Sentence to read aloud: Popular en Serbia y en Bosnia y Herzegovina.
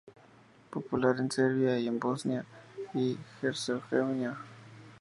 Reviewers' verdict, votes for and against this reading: rejected, 0, 2